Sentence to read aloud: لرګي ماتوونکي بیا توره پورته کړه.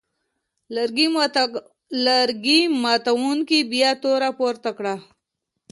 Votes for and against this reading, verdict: 2, 0, accepted